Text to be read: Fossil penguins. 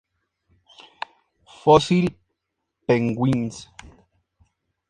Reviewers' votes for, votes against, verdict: 2, 0, accepted